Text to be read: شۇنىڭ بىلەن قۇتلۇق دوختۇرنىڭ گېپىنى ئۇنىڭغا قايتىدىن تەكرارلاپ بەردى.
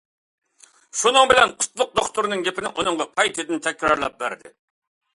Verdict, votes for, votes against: accepted, 2, 0